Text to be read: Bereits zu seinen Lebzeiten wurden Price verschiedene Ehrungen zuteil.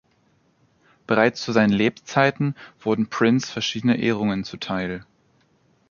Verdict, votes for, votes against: rejected, 0, 2